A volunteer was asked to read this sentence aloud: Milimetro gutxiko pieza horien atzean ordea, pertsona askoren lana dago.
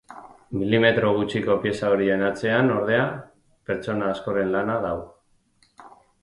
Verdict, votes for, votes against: accepted, 4, 0